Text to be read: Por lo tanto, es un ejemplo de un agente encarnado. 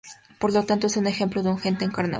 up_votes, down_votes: 2, 2